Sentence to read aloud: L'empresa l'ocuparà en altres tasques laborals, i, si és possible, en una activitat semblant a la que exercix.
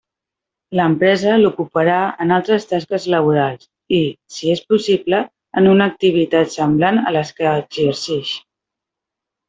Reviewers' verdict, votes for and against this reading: rejected, 0, 2